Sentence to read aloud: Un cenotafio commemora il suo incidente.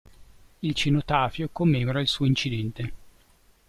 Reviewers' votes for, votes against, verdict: 2, 3, rejected